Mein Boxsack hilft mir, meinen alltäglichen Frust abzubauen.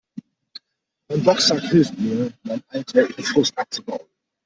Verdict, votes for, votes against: accepted, 2, 0